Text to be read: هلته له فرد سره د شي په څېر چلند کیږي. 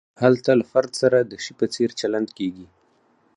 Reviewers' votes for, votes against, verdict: 4, 2, accepted